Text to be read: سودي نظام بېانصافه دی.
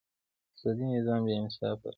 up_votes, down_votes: 2, 0